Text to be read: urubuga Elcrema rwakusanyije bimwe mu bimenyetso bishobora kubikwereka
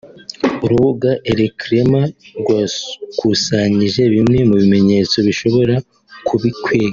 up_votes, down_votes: 0, 2